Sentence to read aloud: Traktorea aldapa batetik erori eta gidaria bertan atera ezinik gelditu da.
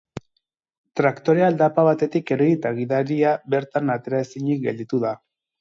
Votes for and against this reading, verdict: 2, 4, rejected